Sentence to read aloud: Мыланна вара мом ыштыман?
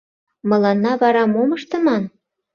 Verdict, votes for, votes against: accepted, 2, 0